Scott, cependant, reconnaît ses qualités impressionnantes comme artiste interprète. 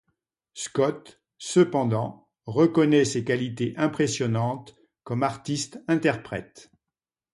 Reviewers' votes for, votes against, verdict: 2, 0, accepted